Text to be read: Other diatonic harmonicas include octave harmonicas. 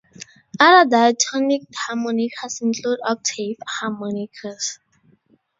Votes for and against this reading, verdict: 0, 2, rejected